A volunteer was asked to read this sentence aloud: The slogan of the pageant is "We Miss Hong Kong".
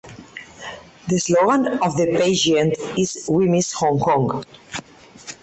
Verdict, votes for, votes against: accepted, 4, 0